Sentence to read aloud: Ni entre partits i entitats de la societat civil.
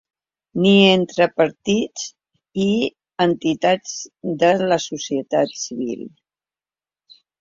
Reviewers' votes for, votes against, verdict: 3, 0, accepted